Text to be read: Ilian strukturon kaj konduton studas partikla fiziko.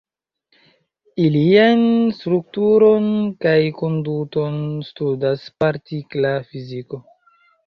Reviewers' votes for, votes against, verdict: 0, 2, rejected